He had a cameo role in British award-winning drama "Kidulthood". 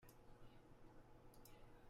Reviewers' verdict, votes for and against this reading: rejected, 0, 2